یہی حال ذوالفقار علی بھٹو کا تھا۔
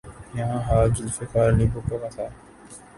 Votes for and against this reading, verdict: 3, 4, rejected